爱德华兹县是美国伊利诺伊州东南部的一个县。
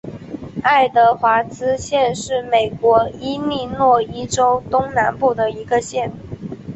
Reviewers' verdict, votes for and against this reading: accepted, 2, 0